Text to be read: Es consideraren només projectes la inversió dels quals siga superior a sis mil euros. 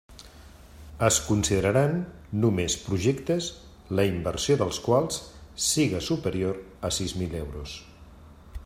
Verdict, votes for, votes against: rejected, 1, 2